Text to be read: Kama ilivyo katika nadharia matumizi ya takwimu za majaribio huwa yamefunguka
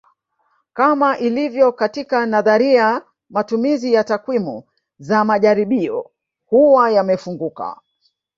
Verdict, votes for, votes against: rejected, 0, 2